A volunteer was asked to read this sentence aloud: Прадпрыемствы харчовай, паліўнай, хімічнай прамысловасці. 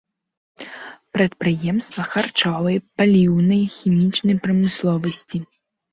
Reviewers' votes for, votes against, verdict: 1, 2, rejected